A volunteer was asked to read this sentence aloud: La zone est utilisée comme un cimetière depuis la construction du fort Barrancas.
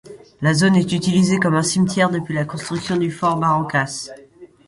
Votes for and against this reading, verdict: 2, 0, accepted